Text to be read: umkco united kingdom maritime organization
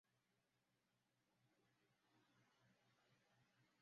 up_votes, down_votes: 0, 2